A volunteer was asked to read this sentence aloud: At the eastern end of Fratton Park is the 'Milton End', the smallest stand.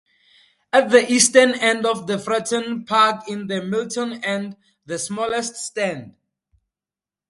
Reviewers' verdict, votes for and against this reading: accepted, 2, 0